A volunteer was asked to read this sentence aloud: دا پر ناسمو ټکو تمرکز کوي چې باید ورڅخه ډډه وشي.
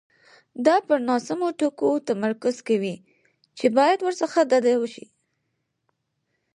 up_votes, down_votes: 2, 4